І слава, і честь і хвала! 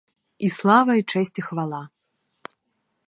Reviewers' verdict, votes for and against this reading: accepted, 4, 0